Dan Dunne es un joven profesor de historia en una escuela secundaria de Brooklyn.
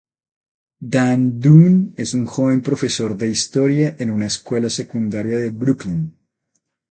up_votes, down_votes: 4, 0